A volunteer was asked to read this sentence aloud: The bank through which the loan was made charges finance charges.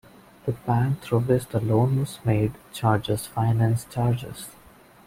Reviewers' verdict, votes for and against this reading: rejected, 1, 2